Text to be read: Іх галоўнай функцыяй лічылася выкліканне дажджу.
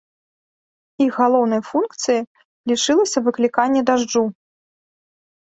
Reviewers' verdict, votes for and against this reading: accepted, 2, 0